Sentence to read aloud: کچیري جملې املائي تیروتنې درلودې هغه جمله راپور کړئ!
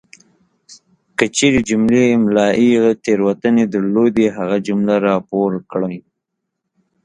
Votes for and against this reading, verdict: 2, 0, accepted